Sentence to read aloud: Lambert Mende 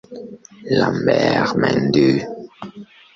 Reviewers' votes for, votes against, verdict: 1, 2, rejected